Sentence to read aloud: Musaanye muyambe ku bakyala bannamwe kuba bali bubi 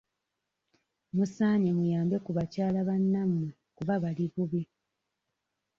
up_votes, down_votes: 2, 0